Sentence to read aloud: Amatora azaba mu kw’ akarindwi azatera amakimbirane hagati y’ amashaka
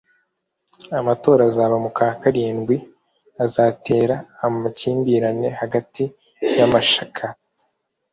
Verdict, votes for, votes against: accepted, 2, 0